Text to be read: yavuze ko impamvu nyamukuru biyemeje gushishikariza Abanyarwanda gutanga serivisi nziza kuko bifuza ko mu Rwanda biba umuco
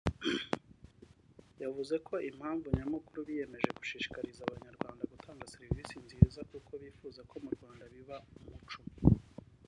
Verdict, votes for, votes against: rejected, 0, 2